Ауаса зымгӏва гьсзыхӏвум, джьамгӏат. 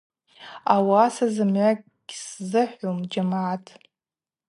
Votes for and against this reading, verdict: 2, 0, accepted